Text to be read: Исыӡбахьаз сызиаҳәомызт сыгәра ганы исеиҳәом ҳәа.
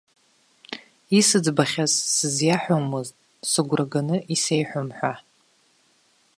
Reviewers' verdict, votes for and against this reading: accepted, 2, 0